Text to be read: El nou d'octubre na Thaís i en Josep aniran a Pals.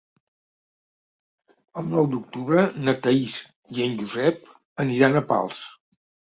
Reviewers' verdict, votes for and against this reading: accepted, 3, 0